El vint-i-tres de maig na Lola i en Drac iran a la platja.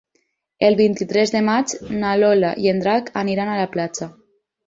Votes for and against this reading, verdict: 0, 4, rejected